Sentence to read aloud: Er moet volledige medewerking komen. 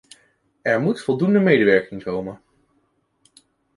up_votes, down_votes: 0, 2